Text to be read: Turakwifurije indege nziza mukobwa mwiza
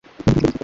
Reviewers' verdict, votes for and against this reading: rejected, 1, 3